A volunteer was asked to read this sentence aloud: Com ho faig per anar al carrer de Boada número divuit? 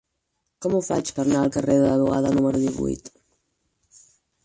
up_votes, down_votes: 4, 6